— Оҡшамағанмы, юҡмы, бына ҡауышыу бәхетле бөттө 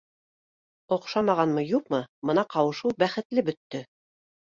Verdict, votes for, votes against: accepted, 2, 0